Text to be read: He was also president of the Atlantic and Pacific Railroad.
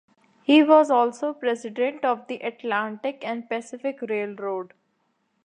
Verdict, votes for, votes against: accepted, 2, 0